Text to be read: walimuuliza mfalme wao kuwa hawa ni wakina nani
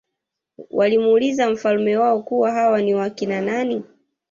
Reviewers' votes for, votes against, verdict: 1, 2, rejected